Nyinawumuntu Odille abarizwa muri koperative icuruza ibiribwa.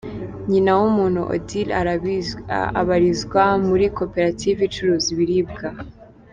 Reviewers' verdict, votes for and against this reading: rejected, 1, 2